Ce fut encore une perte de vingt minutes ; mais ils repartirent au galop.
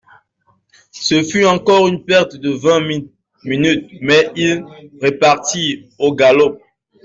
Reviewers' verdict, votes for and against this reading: rejected, 1, 2